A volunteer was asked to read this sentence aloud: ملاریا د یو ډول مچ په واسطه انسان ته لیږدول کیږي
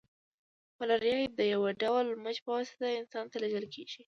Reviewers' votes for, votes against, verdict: 2, 0, accepted